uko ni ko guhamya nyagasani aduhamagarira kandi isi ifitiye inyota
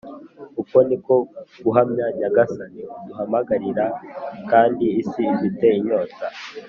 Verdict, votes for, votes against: accepted, 3, 1